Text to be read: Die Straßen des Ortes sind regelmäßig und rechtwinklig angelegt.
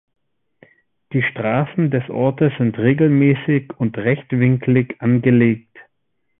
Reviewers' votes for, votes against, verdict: 2, 0, accepted